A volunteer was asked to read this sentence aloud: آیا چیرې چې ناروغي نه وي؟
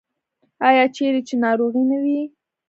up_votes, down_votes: 2, 0